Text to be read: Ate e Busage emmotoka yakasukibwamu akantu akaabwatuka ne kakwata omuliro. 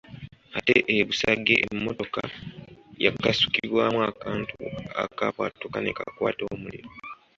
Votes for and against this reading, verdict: 2, 0, accepted